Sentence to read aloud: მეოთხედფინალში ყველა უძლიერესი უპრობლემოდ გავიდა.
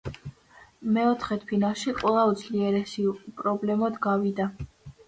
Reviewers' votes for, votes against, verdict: 2, 0, accepted